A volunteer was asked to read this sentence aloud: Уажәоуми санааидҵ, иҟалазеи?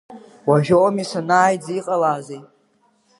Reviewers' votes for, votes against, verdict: 2, 0, accepted